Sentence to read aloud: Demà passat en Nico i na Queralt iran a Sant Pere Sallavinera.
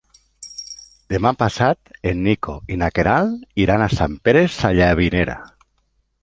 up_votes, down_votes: 2, 0